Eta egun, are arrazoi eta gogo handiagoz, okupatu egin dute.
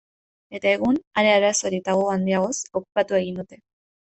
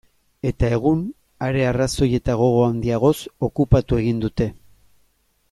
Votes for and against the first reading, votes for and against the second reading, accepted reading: 1, 2, 3, 0, second